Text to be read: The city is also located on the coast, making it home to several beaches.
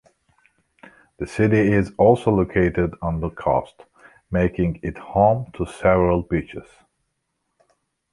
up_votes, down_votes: 3, 1